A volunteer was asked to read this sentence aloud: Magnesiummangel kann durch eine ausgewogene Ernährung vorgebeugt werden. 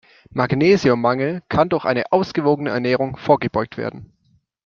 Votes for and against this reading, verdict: 2, 0, accepted